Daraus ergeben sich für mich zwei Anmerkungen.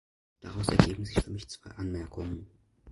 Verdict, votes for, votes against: rejected, 0, 2